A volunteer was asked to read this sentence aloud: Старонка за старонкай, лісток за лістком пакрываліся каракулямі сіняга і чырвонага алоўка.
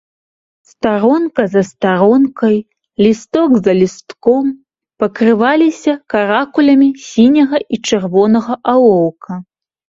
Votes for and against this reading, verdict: 2, 0, accepted